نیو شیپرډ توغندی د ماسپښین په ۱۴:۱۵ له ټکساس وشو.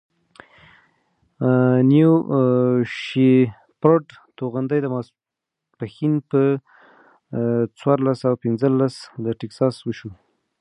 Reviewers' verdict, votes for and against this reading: rejected, 0, 2